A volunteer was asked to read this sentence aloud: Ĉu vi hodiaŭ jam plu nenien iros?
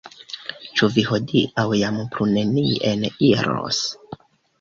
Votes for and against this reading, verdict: 2, 0, accepted